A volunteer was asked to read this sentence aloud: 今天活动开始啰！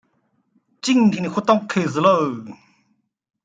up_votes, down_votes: 2, 0